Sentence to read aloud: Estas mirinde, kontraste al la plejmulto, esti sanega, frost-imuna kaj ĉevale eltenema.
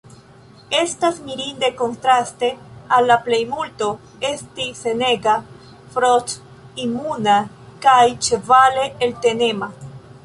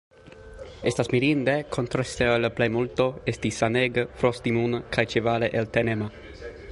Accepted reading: second